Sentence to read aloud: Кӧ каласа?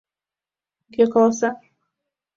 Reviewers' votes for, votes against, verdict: 2, 0, accepted